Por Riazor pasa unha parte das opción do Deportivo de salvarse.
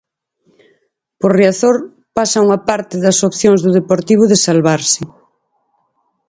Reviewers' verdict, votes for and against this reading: accepted, 2, 0